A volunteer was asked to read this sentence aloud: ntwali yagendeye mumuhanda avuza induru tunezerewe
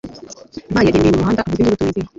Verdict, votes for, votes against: rejected, 1, 2